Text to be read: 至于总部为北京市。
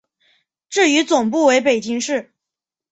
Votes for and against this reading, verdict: 2, 0, accepted